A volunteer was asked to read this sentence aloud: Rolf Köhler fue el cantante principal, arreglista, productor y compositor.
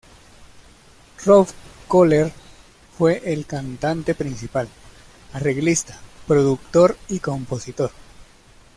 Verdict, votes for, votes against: accepted, 2, 0